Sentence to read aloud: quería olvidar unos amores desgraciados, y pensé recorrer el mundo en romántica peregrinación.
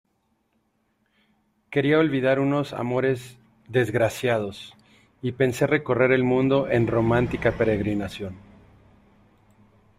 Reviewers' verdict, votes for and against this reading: accepted, 2, 1